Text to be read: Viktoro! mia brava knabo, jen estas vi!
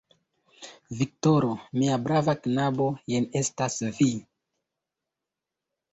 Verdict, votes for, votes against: accepted, 2, 1